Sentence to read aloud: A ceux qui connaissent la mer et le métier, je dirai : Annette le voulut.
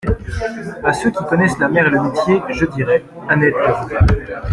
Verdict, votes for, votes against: rejected, 0, 2